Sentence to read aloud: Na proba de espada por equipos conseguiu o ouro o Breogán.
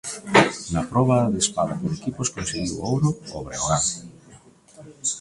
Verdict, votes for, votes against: rejected, 1, 2